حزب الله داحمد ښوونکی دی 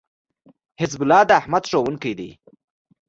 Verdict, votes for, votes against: accepted, 2, 0